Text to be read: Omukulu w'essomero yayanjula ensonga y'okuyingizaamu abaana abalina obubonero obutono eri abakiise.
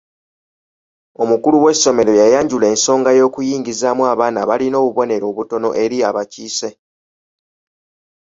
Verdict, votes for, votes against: accepted, 2, 0